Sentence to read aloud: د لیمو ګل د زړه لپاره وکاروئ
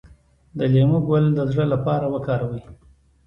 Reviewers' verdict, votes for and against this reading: accepted, 2, 0